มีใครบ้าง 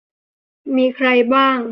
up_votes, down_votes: 2, 0